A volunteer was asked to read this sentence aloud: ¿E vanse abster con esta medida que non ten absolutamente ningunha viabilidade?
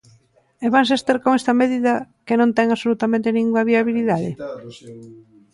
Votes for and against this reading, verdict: 1, 2, rejected